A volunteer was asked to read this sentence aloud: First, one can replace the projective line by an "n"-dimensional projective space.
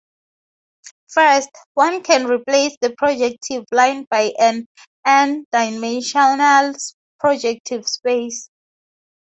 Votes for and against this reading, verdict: 2, 2, rejected